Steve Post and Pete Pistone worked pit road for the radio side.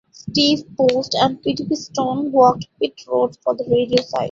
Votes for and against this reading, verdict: 2, 0, accepted